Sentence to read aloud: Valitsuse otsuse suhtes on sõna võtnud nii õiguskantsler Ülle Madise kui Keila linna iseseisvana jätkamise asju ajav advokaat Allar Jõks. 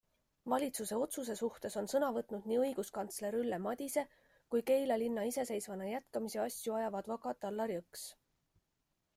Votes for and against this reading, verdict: 2, 0, accepted